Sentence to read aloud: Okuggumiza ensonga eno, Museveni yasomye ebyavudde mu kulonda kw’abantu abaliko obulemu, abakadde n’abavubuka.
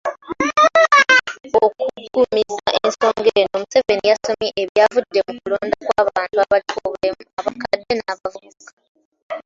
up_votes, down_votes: 0, 2